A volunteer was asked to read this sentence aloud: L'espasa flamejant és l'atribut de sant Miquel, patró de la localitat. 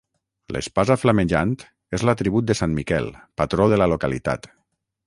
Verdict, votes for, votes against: accepted, 6, 0